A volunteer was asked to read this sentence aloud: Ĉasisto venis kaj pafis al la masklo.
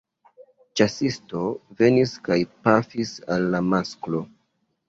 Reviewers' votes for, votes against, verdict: 3, 1, accepted